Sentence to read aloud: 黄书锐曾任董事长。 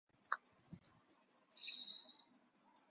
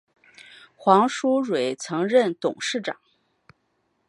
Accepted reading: second